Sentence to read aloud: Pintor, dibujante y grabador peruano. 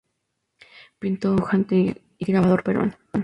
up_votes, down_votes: 0, 2